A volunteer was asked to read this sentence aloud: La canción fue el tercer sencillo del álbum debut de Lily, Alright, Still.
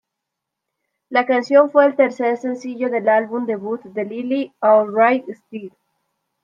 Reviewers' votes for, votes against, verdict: 2, 0, accepted